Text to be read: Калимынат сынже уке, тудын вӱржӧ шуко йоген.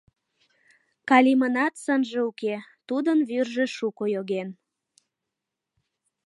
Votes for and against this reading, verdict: 2, 0, accepted